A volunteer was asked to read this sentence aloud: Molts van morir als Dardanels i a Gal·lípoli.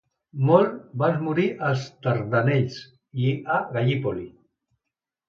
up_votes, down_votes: 0, 2